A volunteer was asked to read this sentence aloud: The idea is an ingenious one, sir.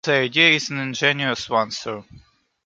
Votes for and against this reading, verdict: 2, 0, accepted